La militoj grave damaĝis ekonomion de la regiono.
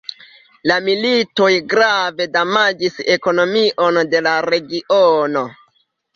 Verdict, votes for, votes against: rejected, 1, 2